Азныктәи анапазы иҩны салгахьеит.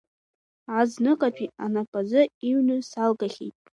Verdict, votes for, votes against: rejected, 1, 2